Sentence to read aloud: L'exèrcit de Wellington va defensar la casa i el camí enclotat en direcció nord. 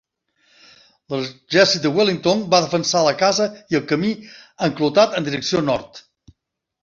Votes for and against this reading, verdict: 2, 1, accepted